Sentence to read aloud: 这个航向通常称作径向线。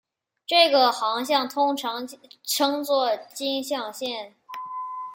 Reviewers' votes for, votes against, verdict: 2, 0, accepted